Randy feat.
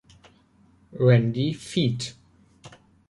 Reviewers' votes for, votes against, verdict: 2, 0, accepted